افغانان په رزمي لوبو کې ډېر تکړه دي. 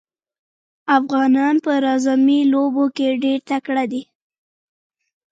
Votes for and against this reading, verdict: 1, 2, rejected